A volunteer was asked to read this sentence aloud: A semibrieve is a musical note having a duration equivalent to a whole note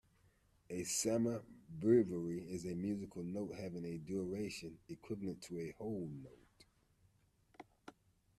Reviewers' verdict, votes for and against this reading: rejected, 0, 2